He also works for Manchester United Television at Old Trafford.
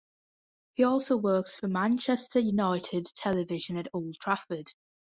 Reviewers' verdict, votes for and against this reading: accepted, 2, 1